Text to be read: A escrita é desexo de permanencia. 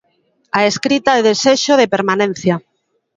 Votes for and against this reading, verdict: 0, 2, rejected